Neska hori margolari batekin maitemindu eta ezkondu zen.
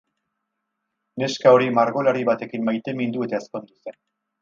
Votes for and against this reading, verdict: 2, 0, accepted